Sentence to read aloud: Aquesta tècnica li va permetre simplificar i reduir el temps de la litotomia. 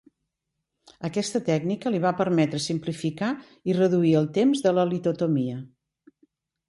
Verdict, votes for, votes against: accepted, 2, 0